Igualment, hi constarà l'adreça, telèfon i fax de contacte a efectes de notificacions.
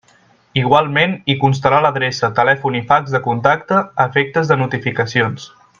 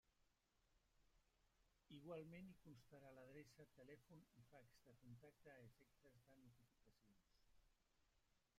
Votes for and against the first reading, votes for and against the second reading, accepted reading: 2, 0, 0, 2, first